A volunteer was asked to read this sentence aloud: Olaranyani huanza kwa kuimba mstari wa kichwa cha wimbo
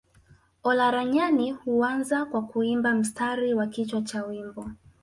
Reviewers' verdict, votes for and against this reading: accepted, 2, 0